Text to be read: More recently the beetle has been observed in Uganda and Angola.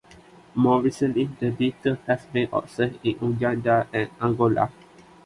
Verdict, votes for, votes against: accepted, 2, 0